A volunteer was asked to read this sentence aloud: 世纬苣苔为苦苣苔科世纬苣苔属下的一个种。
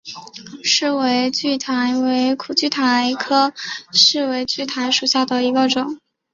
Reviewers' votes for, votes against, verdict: 3, 0, accepted